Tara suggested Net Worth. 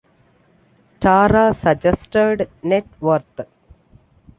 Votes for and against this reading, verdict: 2, 0, accepted